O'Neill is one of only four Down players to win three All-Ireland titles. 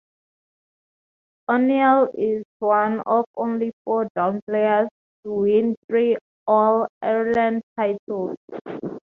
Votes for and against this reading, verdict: 4, 2, accepted